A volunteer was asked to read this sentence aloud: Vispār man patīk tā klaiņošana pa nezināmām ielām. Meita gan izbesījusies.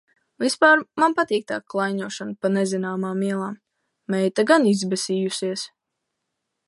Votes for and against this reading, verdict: 2, 0, accepted